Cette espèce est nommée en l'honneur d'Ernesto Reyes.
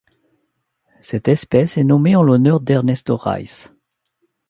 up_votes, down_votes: 1, 2